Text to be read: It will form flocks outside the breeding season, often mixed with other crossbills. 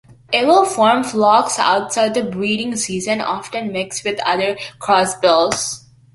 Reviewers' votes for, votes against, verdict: 2, 0, accepted